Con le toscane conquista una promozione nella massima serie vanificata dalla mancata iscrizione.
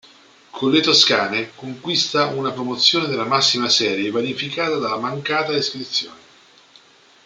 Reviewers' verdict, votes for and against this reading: rejected, 0, 2